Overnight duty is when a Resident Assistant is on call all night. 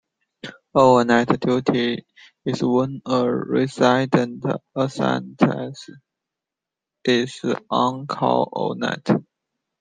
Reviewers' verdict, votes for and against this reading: rejected, 0, 2